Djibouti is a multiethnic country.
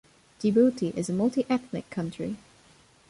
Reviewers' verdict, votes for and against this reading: rejected, 1, 2